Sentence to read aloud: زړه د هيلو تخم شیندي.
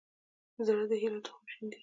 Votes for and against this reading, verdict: 2, 0, accepted